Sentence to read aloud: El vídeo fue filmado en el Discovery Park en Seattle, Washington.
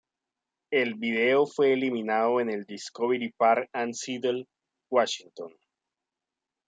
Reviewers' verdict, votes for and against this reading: rejected, 0, 2